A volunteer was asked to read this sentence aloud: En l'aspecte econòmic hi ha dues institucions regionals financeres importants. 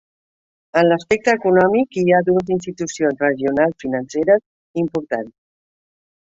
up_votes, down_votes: 3, 0